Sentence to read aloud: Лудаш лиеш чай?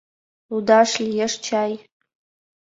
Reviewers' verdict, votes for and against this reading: accepted, 2, 0